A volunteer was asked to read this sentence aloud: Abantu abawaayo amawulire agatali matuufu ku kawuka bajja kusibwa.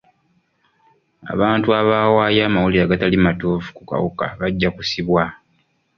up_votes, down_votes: 2, 0